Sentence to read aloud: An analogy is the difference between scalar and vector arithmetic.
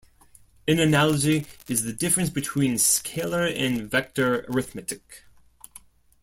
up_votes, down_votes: 1, 2